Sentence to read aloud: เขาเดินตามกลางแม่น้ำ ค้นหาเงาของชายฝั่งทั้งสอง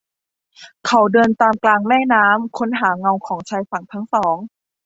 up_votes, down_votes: 2, 0